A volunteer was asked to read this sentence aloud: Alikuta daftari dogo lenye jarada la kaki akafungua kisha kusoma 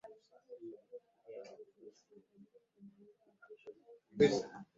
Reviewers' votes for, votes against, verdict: 0, 9, rejected